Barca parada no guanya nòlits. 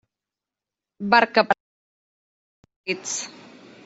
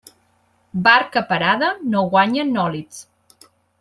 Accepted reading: second